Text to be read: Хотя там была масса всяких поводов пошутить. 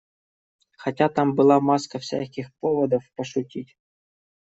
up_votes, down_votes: 1, 2